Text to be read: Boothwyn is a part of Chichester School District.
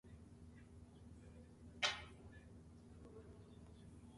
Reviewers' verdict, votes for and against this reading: rejected, 0, 2